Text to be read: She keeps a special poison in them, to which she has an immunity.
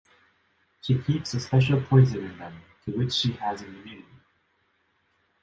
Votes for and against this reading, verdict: 2, 0, accepted